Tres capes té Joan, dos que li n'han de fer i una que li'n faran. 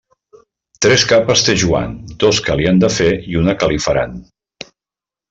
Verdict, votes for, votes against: rejected, 0, 2